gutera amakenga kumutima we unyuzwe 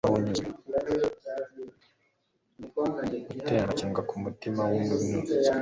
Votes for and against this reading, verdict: 2, 0, accepted